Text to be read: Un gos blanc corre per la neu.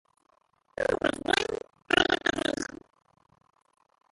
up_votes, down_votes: 0, 2